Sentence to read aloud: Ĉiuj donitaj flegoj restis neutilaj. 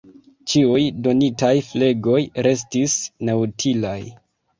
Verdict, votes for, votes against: rejected, 1, 2